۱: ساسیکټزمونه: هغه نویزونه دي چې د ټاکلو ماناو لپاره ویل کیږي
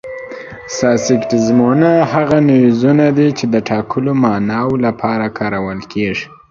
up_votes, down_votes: 0, 2